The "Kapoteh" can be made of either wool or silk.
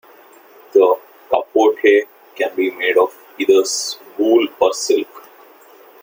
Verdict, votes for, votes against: rejected, 0, 2